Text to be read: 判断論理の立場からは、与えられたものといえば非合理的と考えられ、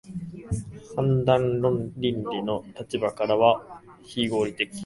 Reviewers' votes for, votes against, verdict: 2, 4, rejected